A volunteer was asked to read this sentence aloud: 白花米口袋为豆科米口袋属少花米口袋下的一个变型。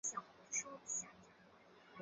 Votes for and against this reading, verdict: 1, 2, rejected